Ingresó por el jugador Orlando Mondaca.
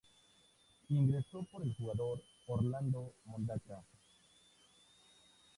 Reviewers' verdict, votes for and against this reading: rejected, 0, 4